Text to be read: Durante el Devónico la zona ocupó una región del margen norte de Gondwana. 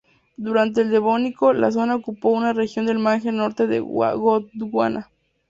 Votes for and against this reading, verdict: 2, 0, accepted